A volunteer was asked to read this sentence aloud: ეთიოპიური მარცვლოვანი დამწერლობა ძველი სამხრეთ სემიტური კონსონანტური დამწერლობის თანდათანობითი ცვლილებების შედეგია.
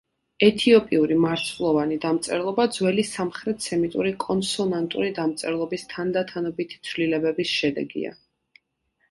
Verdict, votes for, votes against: accepted, 2, 0